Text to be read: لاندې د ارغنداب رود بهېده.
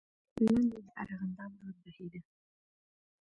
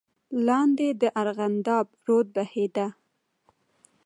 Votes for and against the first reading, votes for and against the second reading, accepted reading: 0, 2, 2, 0, second